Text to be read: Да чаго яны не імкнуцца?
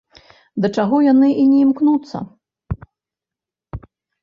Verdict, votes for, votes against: rejected, 1, 2